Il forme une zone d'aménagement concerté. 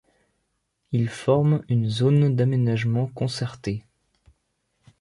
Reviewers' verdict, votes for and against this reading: accepted, 2, 0